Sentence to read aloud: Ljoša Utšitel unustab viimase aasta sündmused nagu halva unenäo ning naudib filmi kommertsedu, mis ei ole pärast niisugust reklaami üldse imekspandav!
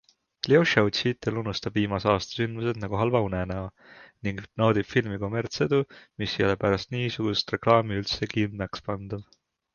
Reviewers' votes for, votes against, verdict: 2, 0, accepted